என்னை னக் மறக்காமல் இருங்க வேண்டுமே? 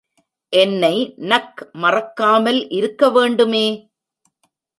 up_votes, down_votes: 0, 2